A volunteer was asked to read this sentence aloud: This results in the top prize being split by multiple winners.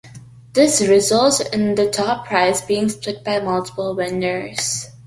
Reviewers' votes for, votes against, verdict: 1, 2, rejected